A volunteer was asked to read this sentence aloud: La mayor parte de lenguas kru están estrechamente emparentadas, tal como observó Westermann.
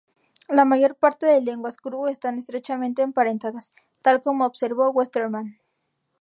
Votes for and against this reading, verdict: 4, 0, accepted